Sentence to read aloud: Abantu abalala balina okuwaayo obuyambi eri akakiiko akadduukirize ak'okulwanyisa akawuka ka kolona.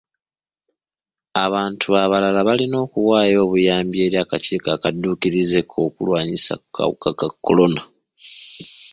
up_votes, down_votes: 2, 1